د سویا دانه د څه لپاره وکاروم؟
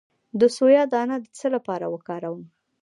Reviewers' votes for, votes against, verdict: 2, 0, accepted